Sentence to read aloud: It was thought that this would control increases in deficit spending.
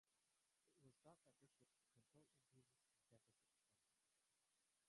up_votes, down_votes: 0, 3